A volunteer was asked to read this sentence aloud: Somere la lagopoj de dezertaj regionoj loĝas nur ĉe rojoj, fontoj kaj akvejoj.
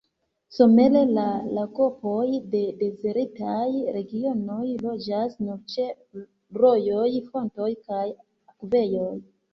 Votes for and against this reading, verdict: 2, 0, accepted